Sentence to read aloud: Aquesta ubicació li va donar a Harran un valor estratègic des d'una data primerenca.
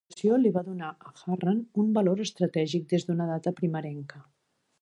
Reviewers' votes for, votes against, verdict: 0, 2, rejected